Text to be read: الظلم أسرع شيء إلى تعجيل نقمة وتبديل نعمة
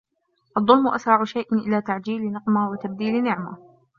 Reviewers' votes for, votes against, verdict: 0, 2, rejected